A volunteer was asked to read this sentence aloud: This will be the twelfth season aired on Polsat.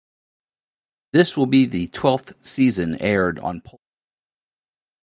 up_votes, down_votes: 0, 2